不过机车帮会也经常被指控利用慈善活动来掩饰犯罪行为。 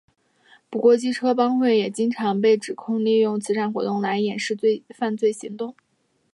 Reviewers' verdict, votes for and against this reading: accepted, 2, 0